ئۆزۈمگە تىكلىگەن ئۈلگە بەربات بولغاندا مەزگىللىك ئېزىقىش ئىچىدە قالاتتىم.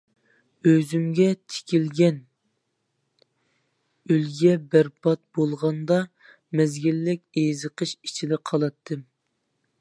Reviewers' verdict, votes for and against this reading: rejected, 0, 2